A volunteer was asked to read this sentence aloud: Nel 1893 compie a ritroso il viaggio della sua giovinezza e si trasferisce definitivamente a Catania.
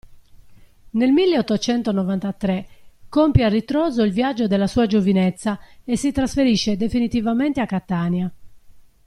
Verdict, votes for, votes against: rejected, 0, 2